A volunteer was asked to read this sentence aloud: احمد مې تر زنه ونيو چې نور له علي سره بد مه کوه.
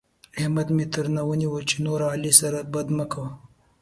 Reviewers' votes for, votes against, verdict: 1, 2, rejected